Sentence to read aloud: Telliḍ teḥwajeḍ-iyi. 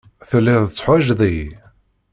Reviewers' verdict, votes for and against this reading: accepted, 2, 0